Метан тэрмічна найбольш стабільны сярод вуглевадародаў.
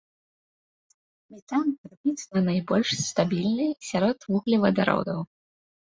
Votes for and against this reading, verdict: 1, 2, rejected